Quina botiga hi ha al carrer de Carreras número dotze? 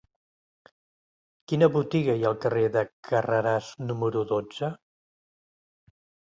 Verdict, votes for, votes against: rejected, 1, 2